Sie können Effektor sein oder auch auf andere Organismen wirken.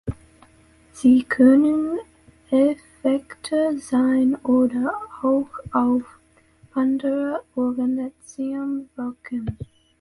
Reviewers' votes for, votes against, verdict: 0, 2, rejected